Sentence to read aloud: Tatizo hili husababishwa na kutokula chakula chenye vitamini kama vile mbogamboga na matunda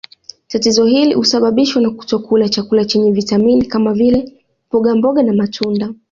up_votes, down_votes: 2, 0